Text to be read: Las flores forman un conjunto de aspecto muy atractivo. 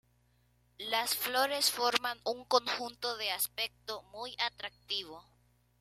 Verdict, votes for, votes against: accepted, 2, 0